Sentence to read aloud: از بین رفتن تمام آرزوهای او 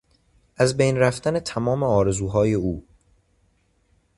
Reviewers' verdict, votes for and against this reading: accepted, 2, 0